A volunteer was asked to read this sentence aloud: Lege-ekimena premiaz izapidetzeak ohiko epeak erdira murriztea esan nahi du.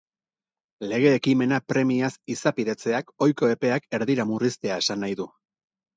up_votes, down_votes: 2, 0